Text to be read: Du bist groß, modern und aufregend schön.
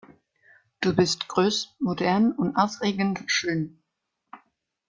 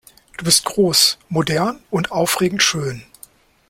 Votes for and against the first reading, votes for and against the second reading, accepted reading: 0, 2, 2, 0, second